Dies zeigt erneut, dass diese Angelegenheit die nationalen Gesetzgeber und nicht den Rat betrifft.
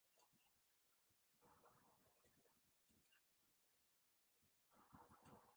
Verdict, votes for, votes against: rejected, 0, 2